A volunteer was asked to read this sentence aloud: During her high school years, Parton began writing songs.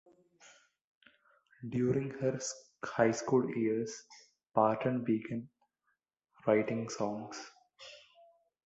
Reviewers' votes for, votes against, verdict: 2, 1, accepted